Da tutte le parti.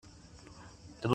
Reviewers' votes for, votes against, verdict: 0, 2, rejected